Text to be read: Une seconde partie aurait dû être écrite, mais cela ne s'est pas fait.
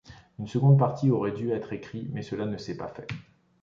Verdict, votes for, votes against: rejected, 1, 2